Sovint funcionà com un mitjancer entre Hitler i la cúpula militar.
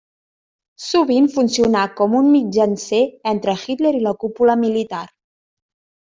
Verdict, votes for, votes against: accepted, 3, 0